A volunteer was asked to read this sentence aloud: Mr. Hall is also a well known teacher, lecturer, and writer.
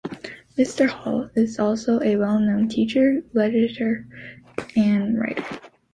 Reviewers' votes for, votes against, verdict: 1, 2, rejected